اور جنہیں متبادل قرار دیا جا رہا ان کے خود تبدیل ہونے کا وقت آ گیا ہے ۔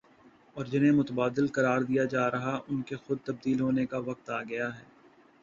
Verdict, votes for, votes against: accepted, 2, 0